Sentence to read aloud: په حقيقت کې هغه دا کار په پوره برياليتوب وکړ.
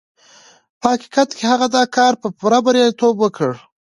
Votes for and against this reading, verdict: 3, 1, accepted